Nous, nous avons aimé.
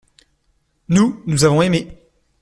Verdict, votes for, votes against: accepted, 2, 0